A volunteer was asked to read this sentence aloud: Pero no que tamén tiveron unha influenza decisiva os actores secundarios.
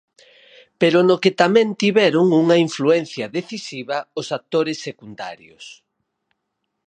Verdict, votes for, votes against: accepted, 4, 2